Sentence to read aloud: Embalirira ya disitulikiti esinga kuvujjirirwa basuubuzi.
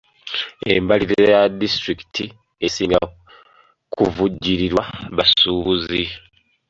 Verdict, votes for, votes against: rejected, 1, 2